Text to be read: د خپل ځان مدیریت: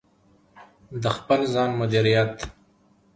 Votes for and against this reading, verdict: 2, 0, accepted